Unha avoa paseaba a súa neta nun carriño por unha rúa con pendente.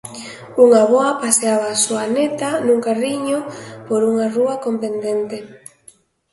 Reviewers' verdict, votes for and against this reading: accepted, 2, 0